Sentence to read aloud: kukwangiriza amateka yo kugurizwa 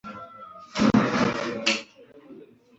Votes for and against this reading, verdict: 1, 2, rejected